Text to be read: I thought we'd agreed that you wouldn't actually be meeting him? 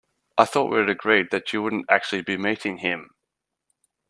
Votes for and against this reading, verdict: 2, 0, accepted